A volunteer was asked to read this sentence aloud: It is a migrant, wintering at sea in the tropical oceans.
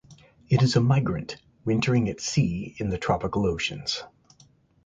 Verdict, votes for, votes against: accepted, 2, 0